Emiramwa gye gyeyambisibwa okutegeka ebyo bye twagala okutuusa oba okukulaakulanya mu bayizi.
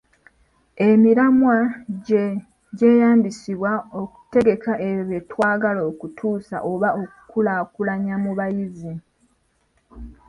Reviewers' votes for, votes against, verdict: 2, 0, accepted